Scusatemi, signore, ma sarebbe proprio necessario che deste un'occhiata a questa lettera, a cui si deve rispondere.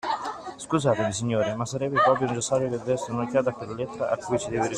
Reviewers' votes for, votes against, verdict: 0, 2, rejected